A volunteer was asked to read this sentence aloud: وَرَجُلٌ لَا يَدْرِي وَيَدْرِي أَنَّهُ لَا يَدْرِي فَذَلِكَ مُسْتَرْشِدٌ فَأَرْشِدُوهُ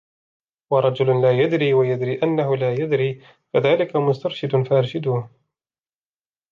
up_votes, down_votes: 2, 0